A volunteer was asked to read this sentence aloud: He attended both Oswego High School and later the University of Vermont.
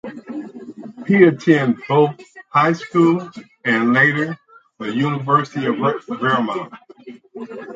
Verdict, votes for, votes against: rejected, 2, 2